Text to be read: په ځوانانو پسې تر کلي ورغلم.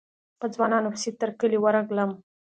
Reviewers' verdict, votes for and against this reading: accepted, 2, 0